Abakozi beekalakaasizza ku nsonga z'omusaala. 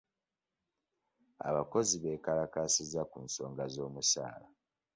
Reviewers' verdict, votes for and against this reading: accepted, 2, 0